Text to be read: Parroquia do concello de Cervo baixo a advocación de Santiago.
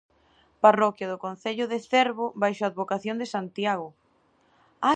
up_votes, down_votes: 0, 2